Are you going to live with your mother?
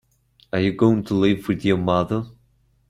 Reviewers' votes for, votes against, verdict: 2, 0, accepted